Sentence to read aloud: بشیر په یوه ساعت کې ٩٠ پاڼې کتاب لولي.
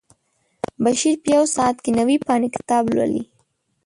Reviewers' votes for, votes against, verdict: 0, 2, rejected